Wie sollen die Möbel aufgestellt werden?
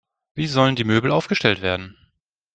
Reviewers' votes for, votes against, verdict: 2, 0, accepted